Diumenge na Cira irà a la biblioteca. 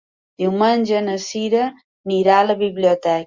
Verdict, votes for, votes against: rejected, 0, 2